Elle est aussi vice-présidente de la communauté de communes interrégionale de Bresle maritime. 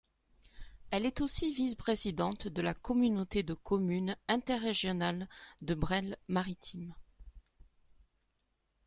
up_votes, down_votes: 2, 0